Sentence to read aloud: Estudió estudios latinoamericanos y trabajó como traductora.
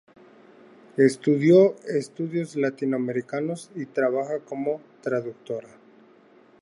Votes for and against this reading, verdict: 2, 0, accepted